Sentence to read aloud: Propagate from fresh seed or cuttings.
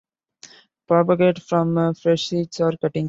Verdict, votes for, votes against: rejected, 0, 2